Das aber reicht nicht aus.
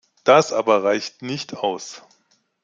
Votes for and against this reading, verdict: 2, 0, accepted